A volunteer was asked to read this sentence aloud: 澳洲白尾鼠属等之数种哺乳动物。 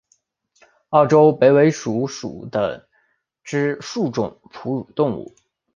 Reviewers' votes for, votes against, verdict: 2, 1, accepted